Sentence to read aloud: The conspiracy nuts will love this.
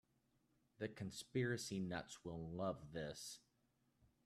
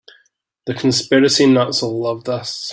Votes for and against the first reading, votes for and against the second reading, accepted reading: 3, 0, 1, 2, first